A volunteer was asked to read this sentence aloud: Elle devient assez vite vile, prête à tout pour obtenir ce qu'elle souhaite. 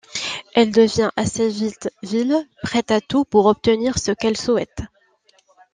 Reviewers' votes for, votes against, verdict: 2, 1, accepted